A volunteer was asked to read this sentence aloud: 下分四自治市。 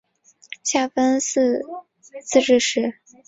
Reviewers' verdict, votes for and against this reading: accepted, 2, 0